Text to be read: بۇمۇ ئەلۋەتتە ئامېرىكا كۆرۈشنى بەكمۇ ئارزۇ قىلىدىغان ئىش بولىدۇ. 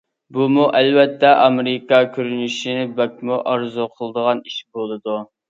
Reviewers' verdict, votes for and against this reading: rejected, 0, 2